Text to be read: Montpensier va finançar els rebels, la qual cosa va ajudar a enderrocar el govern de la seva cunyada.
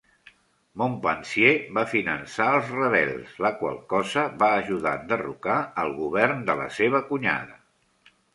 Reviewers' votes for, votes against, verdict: 2, 0, accepted